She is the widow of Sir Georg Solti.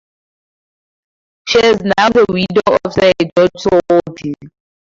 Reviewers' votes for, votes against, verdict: 0, 4, rejected